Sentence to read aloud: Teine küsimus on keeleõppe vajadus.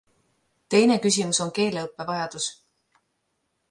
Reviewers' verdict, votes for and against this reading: accepted, 2, 0